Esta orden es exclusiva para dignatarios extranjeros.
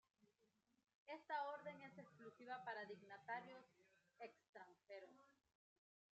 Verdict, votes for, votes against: rejected, 1, 2